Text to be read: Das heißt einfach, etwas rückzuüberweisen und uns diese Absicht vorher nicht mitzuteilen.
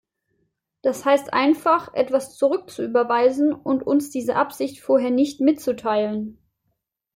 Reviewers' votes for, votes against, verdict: 0, 2, rejected